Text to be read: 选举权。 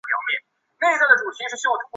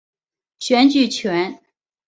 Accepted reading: second